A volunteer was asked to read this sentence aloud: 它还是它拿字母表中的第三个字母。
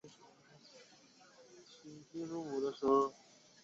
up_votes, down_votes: 0, 2